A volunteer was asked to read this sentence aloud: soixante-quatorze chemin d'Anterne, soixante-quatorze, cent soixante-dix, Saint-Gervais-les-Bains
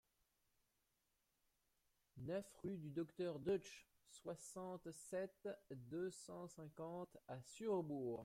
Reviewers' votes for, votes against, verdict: 0, 2, rejected